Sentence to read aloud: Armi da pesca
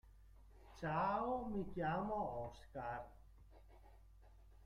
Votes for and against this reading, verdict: 0, 2, rejected